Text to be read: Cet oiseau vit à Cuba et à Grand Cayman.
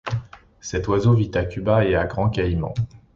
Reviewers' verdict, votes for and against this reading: accepted, 2, 0